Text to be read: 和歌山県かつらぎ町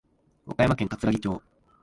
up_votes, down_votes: 1, 2